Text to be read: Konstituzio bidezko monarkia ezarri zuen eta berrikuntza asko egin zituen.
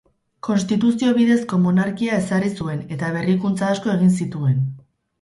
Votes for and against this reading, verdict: 2, 0, accepted